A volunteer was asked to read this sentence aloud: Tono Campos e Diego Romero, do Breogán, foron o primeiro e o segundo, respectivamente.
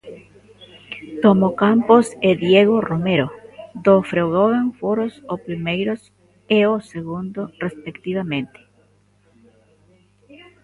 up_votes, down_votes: 0, 2